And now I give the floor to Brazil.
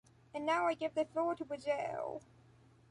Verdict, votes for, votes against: accepted, 2, 1